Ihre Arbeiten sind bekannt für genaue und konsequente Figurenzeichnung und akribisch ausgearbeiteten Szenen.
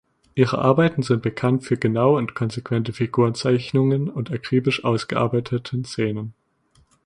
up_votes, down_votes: 1, 2